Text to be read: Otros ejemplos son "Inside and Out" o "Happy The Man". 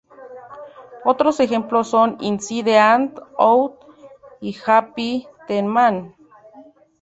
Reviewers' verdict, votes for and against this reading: rejected, 0, 2